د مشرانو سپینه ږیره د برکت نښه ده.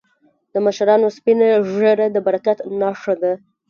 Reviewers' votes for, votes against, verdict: 1, 2, rejected